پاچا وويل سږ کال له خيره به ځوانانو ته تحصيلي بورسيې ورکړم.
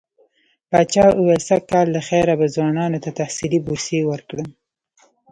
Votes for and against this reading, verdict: 0, 2, rejected